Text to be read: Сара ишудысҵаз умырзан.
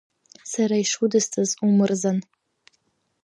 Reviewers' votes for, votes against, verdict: 0, 2, rejected